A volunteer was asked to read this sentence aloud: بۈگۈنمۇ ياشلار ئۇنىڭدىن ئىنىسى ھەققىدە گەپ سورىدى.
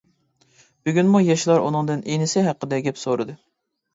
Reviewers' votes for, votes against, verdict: 2, 0, accepted